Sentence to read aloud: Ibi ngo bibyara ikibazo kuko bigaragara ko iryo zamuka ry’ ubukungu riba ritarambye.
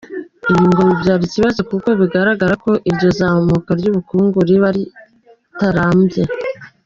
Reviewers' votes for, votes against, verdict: 3, 0, accepted